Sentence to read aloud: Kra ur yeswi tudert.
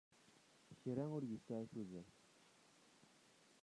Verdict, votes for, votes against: rejected, 0, 2